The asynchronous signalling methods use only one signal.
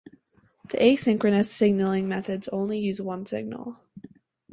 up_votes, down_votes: 4, 0